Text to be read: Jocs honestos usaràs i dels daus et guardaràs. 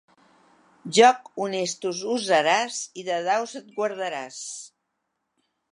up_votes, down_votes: 0, 2